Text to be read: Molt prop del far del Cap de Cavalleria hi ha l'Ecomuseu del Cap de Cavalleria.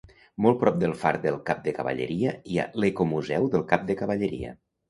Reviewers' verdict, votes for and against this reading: accepted, 2, 0